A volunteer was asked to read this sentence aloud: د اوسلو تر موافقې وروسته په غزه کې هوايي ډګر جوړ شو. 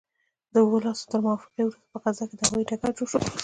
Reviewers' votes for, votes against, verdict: 1, 2, rejected